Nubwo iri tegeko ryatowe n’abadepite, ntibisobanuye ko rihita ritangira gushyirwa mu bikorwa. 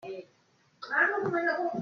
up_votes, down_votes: 0, 2